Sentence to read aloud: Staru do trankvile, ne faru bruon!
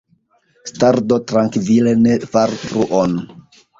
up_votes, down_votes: 2, 0